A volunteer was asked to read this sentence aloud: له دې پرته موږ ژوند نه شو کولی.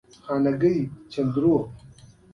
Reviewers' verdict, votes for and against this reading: rejected, 1, 2